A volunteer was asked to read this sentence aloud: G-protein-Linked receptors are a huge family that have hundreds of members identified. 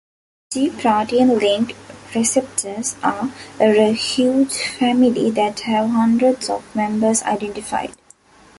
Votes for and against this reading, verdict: 0, 2, rejected